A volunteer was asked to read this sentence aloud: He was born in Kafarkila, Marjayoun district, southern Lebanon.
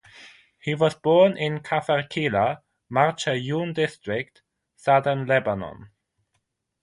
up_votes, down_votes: 6, 0